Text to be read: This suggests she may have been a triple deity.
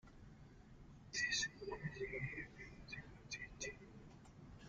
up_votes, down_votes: 1, 2